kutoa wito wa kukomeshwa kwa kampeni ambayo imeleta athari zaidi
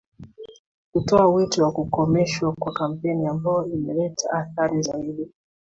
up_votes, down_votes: 2, 1